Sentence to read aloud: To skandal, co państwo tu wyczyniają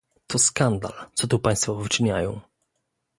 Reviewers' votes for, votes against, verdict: 0, 2, rejected